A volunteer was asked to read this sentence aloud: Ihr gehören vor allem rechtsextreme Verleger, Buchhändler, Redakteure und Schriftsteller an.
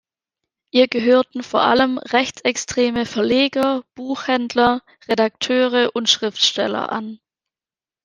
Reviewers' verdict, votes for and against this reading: rejected, 1, 2